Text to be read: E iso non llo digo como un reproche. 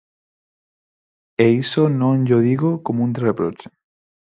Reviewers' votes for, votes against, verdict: 4, 2, accepted